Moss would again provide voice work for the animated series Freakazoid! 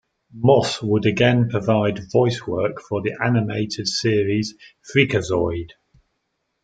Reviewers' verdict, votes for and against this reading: accepted, 2, 0